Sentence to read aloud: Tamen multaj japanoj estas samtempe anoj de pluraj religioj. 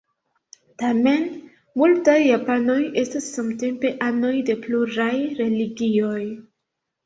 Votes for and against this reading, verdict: 2, 0, accepted